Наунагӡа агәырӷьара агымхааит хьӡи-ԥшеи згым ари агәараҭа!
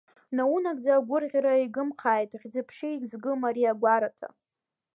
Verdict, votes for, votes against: rejected, 1, 2